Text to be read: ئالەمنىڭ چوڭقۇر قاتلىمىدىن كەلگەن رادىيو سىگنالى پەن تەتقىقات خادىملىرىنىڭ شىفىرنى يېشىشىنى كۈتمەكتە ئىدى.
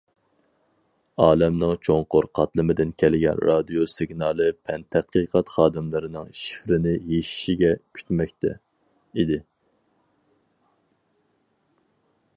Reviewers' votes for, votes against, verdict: 2, 2, rejected